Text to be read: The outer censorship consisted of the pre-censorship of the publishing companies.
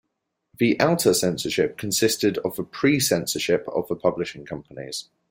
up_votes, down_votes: 2, 0